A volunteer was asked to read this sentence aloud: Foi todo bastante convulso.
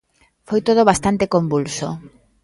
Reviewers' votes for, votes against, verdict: 2, 0, accepted